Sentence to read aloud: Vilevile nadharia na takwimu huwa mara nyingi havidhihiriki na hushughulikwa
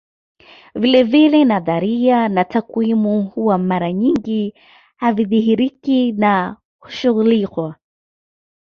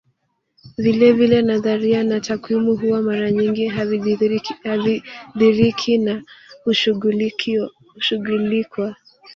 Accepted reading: first